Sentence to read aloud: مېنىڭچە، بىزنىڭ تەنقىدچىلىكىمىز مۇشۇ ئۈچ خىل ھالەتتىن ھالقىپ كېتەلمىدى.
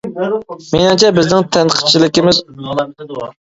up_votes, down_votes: 0, 2